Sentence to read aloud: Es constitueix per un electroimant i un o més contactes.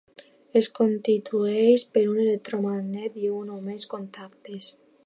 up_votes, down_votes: 0, 2